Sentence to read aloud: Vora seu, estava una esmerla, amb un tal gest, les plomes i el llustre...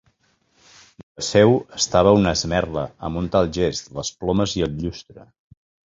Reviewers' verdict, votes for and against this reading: rejected, 1, 2